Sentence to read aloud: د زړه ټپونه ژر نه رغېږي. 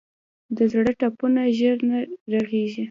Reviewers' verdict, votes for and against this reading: rejected, 1, 2